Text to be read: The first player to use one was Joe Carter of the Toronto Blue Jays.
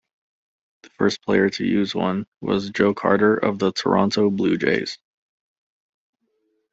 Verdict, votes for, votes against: accepted, 2, 0